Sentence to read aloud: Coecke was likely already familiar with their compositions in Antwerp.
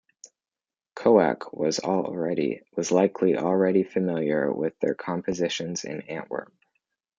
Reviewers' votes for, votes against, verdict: 1, 2, rejected